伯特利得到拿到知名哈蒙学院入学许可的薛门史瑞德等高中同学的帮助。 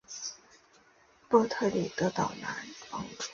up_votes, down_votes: 1, 5